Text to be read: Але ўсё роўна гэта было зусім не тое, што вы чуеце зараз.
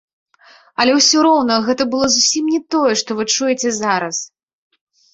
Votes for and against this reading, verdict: 2, 0, accepted